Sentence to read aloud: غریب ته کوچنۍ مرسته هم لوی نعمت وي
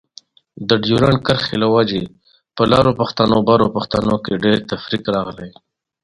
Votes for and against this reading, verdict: 0, 2, rejected